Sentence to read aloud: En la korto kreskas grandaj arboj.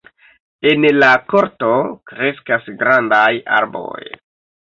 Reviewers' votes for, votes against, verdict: 2, 1, accepted